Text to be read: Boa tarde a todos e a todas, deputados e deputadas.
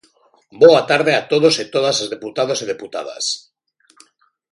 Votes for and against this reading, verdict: 0, 2, rejected